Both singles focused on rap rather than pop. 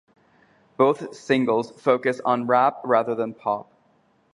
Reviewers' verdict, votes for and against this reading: accepted, 2, 0